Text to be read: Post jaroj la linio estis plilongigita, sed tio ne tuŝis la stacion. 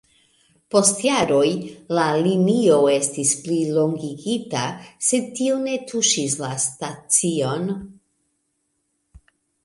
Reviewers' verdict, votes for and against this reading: accepted, 2, 0